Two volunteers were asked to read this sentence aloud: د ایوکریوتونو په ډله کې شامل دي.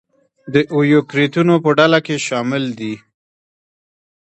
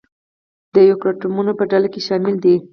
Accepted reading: first